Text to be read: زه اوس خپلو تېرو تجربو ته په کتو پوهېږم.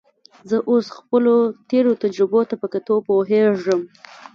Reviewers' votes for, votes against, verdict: 2, 0, accepted